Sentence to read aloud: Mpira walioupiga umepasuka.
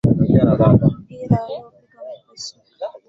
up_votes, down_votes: 0, 2